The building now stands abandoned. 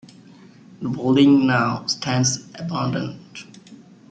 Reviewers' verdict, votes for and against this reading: accepted, 2, 1